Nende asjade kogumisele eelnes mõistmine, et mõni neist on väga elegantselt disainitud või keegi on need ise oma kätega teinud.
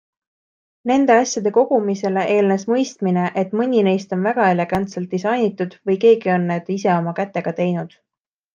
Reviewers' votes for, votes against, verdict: 2, 0, accepted